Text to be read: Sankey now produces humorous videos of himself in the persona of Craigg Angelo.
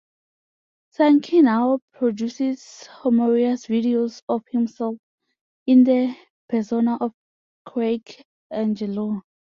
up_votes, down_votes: 0, 2